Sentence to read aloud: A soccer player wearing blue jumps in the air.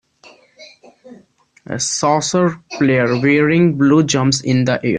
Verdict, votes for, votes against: rejected, 0, 2